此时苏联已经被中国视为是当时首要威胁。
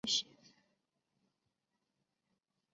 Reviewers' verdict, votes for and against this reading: rejected, 3, 4